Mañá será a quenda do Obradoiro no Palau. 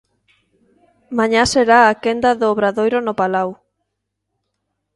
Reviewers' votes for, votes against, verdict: 3, 0, accepted